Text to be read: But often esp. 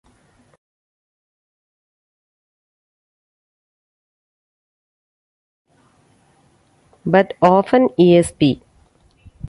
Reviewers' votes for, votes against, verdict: 2, 1, accepted